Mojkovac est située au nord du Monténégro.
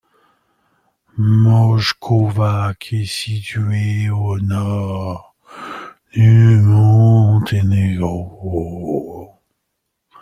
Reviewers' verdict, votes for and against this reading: accepted, 2, 1